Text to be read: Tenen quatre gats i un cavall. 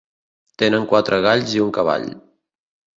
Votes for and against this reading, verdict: 1, 2, rejected